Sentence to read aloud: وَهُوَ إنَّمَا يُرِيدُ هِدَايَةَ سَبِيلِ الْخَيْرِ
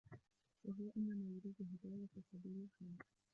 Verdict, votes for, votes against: rejected, 1, 2